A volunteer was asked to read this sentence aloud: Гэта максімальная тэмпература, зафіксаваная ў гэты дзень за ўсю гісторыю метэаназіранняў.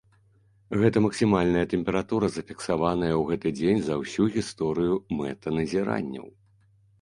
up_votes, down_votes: 1, 2